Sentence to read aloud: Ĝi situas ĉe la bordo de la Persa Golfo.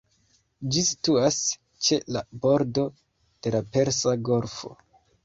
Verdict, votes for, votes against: rejected, 1, 3